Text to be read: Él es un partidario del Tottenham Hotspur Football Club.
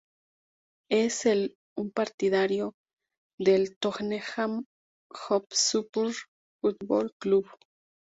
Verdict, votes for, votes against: rejected, 0, 2